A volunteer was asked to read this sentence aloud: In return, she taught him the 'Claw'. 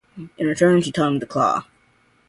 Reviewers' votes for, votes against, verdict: 2, 0, accepted